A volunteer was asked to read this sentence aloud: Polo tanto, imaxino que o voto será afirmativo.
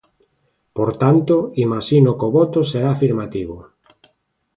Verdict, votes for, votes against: rejected, 1, 3